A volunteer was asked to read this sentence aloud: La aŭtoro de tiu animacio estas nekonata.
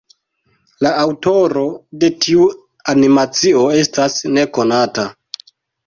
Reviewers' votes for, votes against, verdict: 2, 1, accepted